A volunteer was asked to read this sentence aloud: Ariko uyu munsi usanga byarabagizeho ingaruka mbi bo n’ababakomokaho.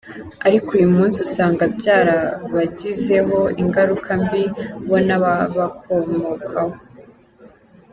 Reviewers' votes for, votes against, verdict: 2, 1, accepted